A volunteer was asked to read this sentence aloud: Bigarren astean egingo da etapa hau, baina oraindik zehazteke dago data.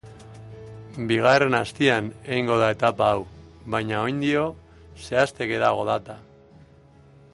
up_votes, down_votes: 0, 2